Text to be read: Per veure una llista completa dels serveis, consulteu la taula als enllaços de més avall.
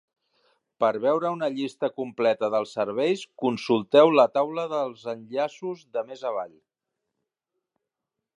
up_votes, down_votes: 1, 2